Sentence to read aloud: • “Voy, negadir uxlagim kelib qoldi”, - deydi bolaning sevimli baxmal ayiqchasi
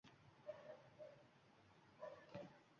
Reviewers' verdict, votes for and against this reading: rejected, 1, 2